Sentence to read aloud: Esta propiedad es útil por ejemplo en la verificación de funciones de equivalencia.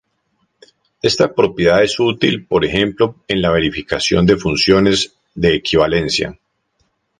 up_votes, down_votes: 0, 2